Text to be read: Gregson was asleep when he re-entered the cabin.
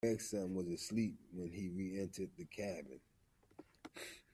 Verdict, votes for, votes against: rejected, 1, 2